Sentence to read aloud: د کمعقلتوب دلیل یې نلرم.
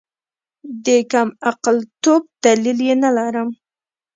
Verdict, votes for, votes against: rejected, 1, 2